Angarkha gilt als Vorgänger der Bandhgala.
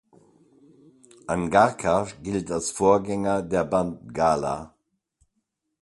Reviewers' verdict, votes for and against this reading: accepted, 2, 0